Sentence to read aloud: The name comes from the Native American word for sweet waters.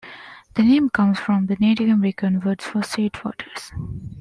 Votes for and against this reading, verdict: 2, 0, accepted